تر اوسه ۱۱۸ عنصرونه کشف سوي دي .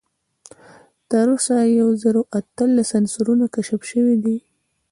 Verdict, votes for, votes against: rejected, 0, 2